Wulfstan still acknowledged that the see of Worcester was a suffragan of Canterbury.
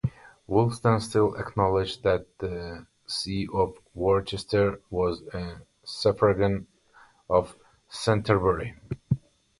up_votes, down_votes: 0, 2